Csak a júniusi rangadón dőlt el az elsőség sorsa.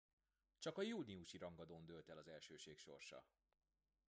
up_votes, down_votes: 0, 2